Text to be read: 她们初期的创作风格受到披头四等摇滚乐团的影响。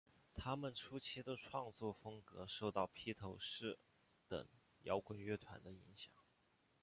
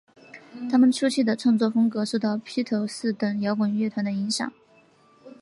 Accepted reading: first